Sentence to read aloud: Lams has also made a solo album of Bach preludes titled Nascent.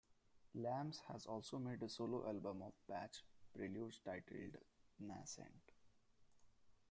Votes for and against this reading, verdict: 0, 2, rejected